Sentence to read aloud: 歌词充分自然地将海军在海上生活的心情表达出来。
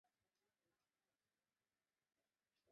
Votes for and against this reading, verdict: 0, 2, rejected